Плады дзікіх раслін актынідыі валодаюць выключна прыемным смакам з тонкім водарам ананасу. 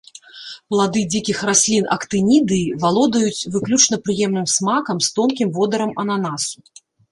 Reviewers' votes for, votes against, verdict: 2, 0, accepted